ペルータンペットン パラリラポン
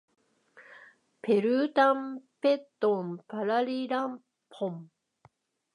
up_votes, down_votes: 2, 0